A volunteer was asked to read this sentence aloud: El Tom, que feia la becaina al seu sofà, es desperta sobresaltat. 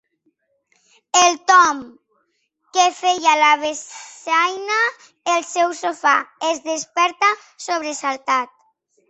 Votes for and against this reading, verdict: 0, 2, rejected